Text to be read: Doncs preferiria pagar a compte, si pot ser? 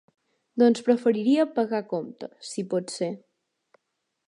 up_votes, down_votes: 2, 1